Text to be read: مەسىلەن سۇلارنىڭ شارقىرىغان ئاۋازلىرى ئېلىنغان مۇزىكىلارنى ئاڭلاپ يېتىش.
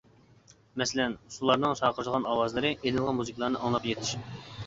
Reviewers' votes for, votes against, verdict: 1, 2, rejected